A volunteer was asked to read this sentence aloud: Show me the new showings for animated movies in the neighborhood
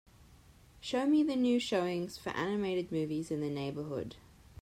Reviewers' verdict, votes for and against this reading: accepted, 2, 0